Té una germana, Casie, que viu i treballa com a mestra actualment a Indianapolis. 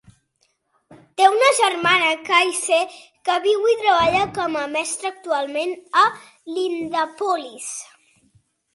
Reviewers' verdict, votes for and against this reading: rejected, 0, 2